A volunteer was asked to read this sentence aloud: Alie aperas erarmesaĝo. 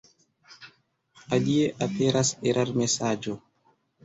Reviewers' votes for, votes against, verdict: 1, 2, rejected